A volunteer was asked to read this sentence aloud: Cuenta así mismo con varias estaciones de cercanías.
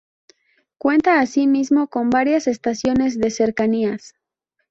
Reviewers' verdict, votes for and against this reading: accepted, 2, 0